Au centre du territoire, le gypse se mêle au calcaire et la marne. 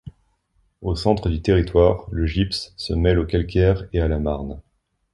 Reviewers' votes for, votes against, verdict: 1, 3, rejected